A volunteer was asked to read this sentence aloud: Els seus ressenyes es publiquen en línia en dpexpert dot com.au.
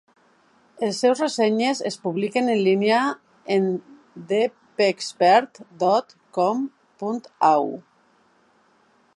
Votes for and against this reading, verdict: 0, 2, rejected